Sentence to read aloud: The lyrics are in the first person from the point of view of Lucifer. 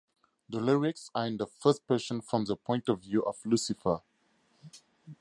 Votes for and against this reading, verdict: 2, 2, rejected